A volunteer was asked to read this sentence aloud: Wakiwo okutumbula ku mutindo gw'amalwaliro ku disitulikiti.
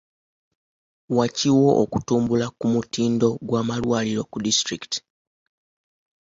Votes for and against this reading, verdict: 2, 0, accepted